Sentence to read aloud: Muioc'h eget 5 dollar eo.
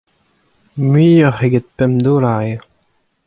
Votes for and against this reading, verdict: 0, 2, rejected